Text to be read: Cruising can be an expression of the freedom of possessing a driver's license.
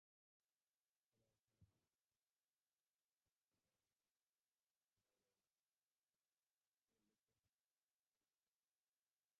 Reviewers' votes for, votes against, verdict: 0, 2, rejected